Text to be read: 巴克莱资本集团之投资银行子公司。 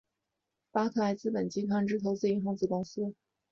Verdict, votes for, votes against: accepted, 2, 0